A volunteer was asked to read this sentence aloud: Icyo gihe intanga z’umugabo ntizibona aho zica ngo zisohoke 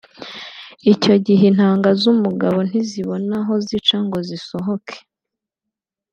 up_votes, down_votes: 2, 0